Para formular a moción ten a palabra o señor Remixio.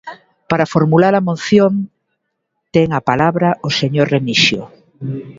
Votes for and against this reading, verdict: 0, 2, rejected